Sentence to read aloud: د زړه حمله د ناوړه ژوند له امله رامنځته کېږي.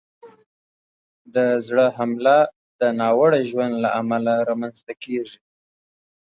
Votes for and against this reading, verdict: 2, 0, accepted